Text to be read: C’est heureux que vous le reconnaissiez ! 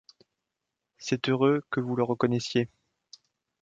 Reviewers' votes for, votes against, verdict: 2, 0, accepted